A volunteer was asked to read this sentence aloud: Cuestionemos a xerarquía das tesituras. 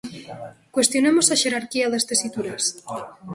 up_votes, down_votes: 2, 1